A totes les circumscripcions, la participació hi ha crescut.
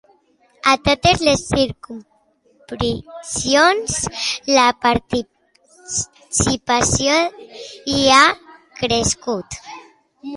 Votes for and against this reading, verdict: 1, 2, rejected